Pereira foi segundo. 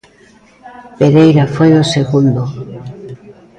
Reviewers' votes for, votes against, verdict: 0, 2, rejected